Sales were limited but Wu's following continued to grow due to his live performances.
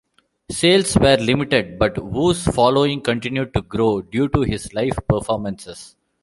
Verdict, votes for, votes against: accepted, 2, 0